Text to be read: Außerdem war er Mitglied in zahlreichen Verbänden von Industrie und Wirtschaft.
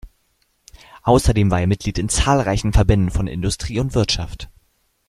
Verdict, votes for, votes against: rejected, 0, 2